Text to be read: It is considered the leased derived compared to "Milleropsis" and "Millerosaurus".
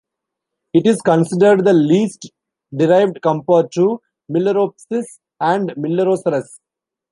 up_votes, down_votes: 2, 0